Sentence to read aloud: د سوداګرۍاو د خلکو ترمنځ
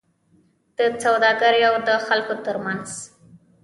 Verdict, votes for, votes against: rejected, 1, 2